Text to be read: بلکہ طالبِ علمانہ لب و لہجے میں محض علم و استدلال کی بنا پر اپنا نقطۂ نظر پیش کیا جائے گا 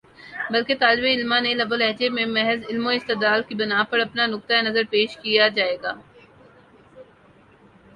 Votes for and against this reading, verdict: 0, 2, rejected